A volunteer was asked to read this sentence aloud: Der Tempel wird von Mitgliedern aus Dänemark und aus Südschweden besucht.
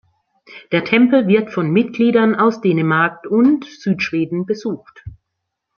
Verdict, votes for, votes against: rejected, 0, 2